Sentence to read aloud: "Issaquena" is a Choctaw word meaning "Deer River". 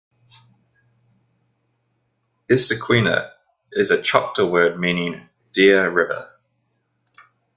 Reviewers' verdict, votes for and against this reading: accepted, 2, 0